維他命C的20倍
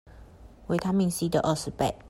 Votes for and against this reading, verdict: 0, 2, rejected